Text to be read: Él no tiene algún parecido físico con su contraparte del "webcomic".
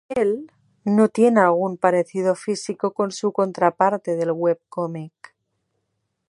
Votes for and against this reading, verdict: 2, 0, accepted